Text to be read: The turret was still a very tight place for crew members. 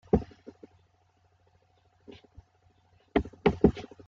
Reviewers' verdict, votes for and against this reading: rejected, 0, 2